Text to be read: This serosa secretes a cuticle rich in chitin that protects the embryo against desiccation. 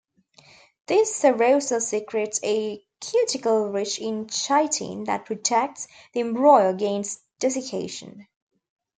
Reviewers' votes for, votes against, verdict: 0, 2, rejected